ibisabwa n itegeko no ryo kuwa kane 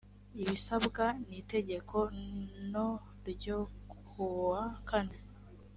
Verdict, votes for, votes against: accepted, 2, 0